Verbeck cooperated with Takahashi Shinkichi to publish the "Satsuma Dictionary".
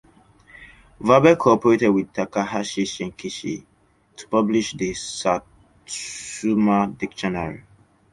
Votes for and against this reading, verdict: 2, 0, accepted